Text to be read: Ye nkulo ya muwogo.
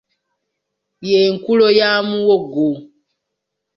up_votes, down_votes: 2, 1